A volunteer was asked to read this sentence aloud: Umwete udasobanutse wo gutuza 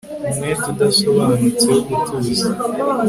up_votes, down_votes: 2, 0